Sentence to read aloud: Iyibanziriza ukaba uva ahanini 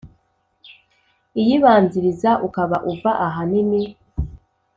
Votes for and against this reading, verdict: 4, 0, accepted